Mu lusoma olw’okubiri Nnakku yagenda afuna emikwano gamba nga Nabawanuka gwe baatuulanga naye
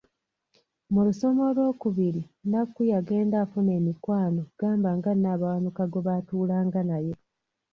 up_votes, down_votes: 1, 2